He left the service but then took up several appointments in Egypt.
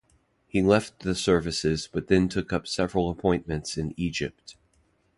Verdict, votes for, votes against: rejected, 0, 2